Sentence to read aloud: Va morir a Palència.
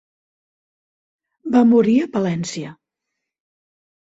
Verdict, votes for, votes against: accepted, 3, 0